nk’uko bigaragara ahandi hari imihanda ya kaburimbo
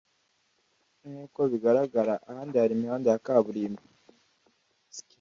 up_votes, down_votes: 2, 0